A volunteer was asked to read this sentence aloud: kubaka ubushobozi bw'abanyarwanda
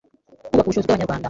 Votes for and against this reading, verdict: 0, 2, rejected